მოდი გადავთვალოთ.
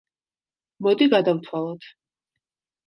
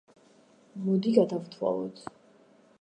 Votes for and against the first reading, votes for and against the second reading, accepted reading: 2, 0, 0, 2, first